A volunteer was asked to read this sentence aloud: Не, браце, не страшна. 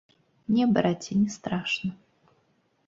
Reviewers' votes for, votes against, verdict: 1, 2, rejected